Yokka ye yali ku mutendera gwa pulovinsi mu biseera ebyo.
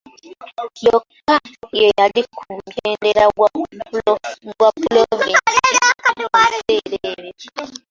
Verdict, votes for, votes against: rejected, 0, 2